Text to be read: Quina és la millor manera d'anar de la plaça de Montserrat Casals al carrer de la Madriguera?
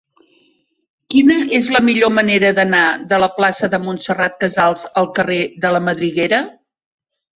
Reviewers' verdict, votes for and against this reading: accepted, 3, 0